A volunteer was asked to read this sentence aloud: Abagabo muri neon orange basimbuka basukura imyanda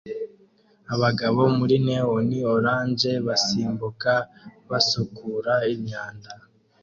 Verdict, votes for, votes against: accepted, 2, 0